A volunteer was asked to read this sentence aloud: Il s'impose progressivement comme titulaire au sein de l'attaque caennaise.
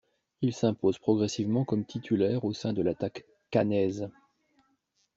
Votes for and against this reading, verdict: 2, 0, accepted